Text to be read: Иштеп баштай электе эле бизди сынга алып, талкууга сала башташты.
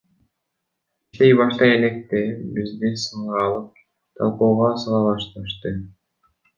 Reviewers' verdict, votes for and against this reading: rejected, 0, 2